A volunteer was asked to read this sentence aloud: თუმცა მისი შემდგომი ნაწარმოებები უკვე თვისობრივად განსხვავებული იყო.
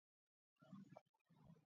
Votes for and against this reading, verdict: 1, 2, rejected